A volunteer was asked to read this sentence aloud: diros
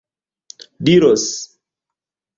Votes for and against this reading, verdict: 2, 0, accepted